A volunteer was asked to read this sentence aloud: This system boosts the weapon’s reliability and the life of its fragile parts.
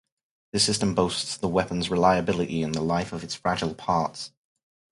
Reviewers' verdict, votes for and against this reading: rejected, 2, 2